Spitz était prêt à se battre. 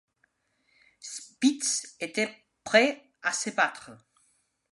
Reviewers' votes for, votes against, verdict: 2, 0, accepted